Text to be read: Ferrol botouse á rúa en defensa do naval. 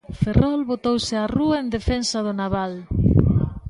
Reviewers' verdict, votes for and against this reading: accepted, 3, 0